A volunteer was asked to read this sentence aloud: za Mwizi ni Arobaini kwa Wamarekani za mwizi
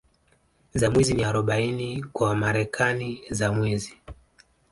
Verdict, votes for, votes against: accepted, 2, 0